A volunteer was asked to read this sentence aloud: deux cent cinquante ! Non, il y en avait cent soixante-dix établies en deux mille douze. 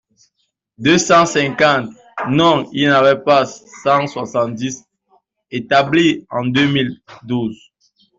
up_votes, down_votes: 2, 1